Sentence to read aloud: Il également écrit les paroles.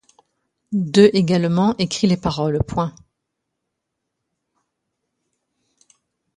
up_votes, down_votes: 0, 2